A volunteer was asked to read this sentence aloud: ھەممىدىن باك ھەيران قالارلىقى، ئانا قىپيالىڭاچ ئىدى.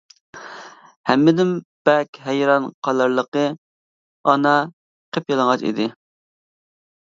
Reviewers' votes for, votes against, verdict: 1, 2, rejected